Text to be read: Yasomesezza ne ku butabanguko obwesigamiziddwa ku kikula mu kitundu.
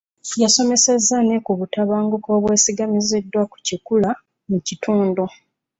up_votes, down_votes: 2, 0